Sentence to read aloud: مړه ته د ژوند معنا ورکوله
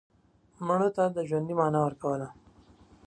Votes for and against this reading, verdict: 2, 0, accepted